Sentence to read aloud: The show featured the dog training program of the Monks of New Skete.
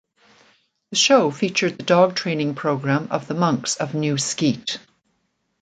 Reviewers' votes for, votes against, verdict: 2, 0, accepted